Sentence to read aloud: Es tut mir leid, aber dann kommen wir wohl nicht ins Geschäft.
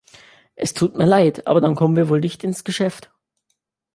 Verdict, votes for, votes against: accepted, 2, 0